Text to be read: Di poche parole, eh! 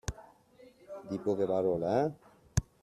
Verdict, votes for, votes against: rejected, 0, 2